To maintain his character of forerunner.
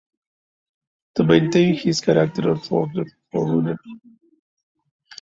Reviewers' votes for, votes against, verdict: 1, 2, rejected